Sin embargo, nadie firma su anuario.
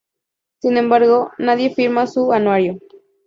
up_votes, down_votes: 2, 0